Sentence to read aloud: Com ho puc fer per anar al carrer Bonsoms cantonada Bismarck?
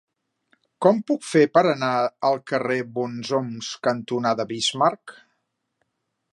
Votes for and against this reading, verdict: 1, 2, rejected